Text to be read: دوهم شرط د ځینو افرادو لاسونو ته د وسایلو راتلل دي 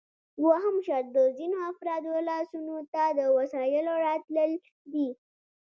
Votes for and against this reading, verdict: 2, 0, accepted